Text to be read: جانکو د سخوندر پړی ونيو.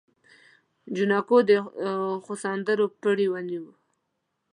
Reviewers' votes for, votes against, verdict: 1, 2, rejected